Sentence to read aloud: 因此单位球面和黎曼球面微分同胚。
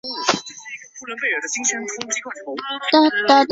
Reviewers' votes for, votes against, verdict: 0, 2, rejected